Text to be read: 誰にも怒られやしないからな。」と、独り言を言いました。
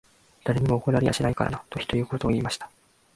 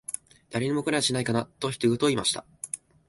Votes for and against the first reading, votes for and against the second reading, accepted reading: 2, 0, 1, 2, first